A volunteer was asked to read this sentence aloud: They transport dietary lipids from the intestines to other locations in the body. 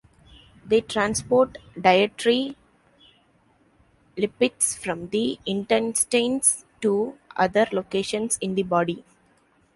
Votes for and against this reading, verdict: 0, 2, rejected